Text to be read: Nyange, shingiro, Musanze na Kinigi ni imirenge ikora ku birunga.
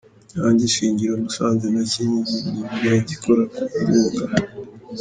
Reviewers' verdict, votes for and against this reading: rejected, 1, 2